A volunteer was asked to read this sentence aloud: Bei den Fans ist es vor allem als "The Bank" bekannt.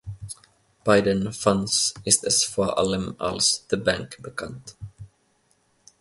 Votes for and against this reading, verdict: 2, 0, accepted